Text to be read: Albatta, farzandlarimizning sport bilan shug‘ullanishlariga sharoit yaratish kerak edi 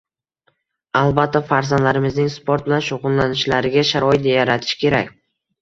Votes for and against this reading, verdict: 2, 1, accepted